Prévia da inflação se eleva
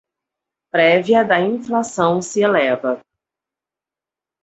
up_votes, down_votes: 4, 2